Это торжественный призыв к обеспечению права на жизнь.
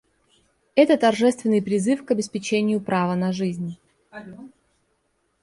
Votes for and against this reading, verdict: 2, 0, accepted